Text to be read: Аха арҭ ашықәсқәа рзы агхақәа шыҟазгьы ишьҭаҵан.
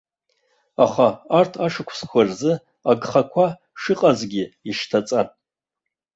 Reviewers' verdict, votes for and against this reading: accepted, 2, 0